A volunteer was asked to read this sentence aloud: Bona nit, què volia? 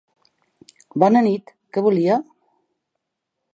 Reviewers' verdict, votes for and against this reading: accepted, 3, 0